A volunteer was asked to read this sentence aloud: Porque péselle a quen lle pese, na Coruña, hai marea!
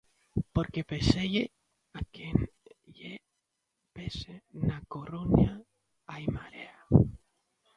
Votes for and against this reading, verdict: 0, 2, rejected